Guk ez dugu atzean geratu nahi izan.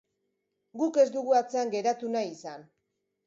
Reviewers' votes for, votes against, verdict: 2, 0, accepted